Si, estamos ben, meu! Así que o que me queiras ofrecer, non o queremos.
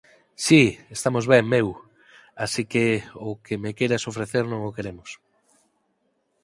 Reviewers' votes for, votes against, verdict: 4, 0, accepted